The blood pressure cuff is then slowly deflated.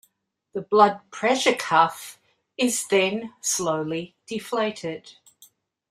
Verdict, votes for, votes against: accepted, 2, 0